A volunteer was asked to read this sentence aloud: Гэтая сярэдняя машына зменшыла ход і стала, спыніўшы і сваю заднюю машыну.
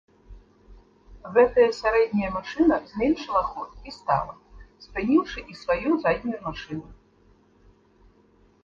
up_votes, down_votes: 1, 2